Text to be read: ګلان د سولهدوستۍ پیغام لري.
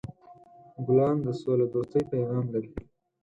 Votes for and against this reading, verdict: 4, 0, accepted